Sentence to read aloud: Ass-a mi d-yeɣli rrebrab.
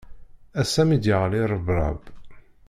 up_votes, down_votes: 0, 2